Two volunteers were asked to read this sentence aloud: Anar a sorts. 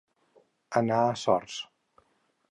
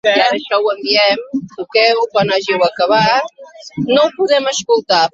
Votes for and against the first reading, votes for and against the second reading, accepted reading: 4, 0, 0, 2, first